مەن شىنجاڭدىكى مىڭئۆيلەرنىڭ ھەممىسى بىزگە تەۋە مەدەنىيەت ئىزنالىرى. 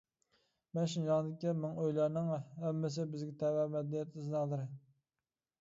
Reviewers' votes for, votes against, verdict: 0, 2, rejected